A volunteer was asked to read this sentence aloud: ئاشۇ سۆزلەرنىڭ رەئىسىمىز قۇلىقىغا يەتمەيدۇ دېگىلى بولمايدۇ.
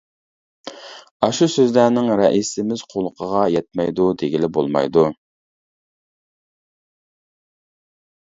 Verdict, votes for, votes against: rejected, 1, 2